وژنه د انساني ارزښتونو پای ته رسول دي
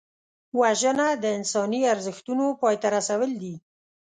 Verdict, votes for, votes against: accepted, 2, 0